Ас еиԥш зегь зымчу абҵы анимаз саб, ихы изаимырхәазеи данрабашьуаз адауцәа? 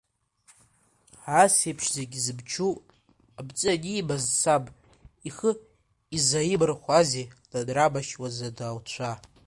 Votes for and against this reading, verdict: 0, 2, rejected